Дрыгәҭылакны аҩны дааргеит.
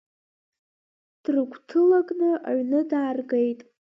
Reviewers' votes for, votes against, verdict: 2, 1, accepted